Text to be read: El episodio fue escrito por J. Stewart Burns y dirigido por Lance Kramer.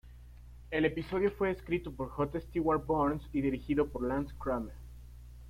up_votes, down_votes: 2, 0